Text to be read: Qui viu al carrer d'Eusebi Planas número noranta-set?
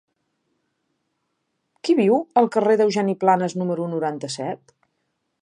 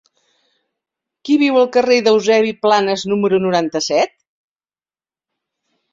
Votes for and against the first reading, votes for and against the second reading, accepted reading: 0, 2, 3, 0, second